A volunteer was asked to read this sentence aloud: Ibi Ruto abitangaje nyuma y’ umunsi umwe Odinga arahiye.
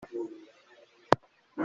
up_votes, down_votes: 0, 2